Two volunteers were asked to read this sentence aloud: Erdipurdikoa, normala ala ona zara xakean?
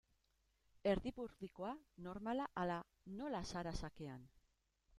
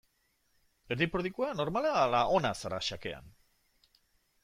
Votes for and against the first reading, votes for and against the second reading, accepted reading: 0, 2, 2, 0, second